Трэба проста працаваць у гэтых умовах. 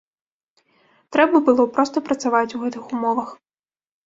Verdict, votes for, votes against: rejected, 1, 2